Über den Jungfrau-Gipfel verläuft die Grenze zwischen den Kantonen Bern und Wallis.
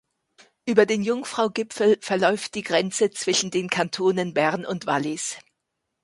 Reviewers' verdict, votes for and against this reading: accepted, 2, 0